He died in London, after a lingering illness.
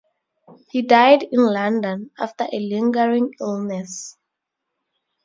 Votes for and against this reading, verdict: 2, 0, accepted